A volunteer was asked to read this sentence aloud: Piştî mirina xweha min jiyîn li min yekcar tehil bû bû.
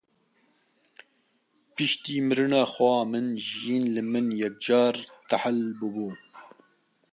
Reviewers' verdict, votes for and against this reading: accepted, 2, 0